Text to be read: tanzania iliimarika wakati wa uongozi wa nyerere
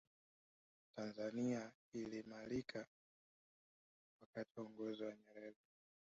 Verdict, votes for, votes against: rejected, 1, 2